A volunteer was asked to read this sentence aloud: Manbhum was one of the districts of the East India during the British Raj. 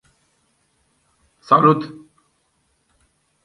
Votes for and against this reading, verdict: 0, 2, rejected